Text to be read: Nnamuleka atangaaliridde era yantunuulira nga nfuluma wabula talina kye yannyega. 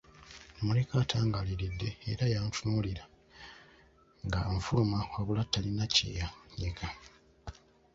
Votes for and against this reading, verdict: 2, 1, accepted